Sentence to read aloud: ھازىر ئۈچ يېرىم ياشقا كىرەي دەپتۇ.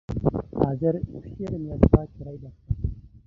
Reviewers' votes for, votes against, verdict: 0, 2, rejected